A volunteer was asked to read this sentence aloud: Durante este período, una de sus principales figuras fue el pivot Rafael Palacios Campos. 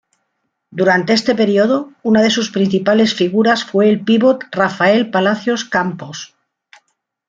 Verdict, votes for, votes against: accepted, 2, 0